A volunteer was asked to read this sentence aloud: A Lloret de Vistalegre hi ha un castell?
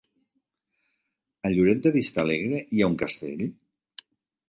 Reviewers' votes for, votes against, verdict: 3, 0, accepted